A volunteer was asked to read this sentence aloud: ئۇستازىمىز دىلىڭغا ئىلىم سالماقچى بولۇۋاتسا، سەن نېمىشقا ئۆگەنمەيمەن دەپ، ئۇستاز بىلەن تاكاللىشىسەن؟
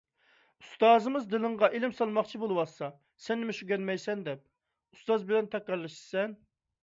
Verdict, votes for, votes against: rejected, 1, 2